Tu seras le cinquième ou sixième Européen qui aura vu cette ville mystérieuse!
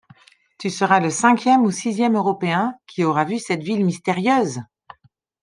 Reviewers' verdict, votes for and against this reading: accepted, 2, 0